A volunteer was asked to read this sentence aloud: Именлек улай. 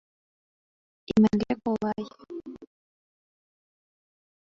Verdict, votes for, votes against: rejected, 0, 3